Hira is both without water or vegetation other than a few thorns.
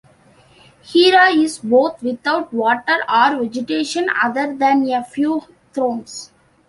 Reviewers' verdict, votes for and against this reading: rejected, 0, 2